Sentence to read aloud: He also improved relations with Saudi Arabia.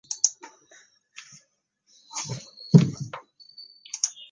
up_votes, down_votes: 0, 2